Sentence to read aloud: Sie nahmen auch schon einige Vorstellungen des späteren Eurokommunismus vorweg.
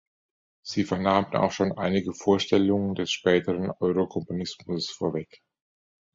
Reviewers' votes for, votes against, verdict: 1, 2, rejected